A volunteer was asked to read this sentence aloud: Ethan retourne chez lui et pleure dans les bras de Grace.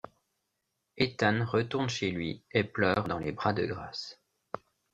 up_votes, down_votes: 2, 0